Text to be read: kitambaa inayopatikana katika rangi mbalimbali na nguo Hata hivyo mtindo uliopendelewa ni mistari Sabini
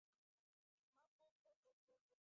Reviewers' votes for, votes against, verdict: 0, 2, rejected